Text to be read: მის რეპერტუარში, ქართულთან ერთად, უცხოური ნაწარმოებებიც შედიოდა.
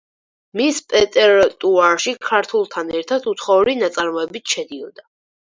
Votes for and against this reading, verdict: 0, 4, rejected